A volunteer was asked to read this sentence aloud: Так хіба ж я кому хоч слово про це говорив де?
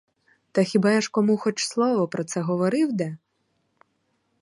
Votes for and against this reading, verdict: 0, 4, rejected